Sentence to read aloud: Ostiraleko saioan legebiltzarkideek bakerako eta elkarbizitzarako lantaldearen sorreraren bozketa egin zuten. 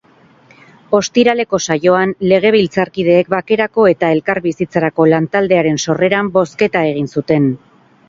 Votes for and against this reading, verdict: 2, 2, rejected